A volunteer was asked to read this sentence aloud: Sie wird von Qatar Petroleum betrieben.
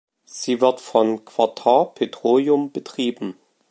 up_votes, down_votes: 2, 0